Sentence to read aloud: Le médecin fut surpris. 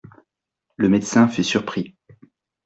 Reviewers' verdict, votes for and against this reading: accepted, 2, 0